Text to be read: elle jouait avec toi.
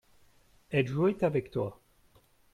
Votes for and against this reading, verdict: 2, 0, accepted